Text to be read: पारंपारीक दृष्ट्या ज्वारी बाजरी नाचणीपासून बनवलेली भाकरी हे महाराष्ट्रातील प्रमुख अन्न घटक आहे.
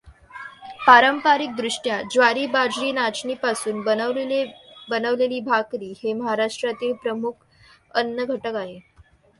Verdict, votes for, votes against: rejected, 0, 2